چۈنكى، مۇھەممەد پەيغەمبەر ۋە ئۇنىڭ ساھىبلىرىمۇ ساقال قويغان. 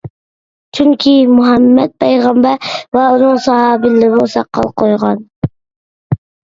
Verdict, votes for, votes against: rejected, 0, 2